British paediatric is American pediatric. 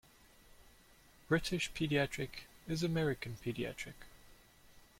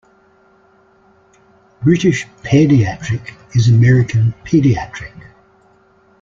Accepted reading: first